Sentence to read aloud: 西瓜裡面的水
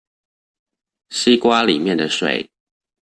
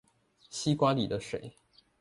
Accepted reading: first